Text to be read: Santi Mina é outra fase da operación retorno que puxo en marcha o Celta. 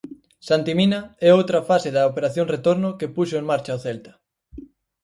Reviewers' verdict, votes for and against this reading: accepted, 4, 0